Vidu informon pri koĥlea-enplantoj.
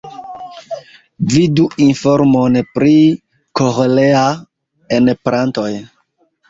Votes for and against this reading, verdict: 2, 1, accepted